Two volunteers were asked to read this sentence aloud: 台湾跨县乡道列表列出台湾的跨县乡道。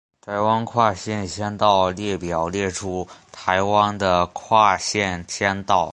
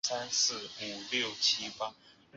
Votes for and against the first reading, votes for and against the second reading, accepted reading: 3, 0, 0, 3, first